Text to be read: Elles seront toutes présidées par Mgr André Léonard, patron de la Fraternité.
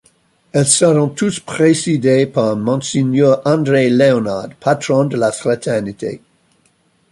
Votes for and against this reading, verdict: 0, 2, rejected